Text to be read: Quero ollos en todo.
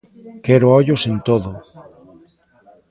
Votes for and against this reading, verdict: 1, 2, rejected